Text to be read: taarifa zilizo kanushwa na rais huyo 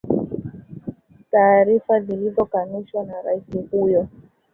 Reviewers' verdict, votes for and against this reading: accepted, 2, 1